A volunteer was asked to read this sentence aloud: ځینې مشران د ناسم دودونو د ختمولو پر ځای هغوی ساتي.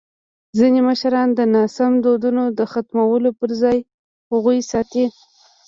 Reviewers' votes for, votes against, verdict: 1, 2, rejected